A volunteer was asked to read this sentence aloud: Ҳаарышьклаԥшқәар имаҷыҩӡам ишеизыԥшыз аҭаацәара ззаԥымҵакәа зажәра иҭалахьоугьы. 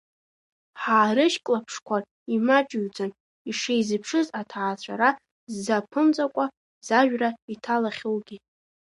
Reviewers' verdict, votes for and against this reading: rejected, 1, 2